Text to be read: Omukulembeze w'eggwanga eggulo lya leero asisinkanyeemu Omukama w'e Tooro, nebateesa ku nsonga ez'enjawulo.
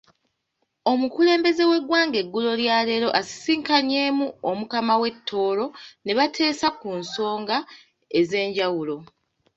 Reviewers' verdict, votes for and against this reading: accepted, 2, 0